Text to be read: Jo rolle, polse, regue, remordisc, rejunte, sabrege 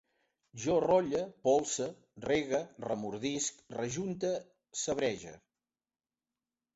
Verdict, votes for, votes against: accepted, 3, 0